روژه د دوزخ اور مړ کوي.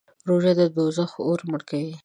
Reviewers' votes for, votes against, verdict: 2, 0, accepted